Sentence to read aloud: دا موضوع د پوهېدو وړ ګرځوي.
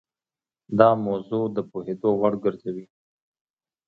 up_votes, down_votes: 2, 0